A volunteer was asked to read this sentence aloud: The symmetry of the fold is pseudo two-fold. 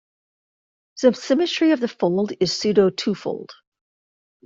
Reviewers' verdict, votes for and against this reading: rejected, 0, 2